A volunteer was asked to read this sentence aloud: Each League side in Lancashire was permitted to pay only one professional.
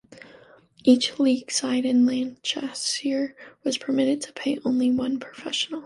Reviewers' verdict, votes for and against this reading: accepted, 2, 0